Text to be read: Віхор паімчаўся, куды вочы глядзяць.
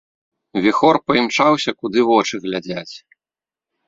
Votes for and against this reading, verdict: 3, 1, accepted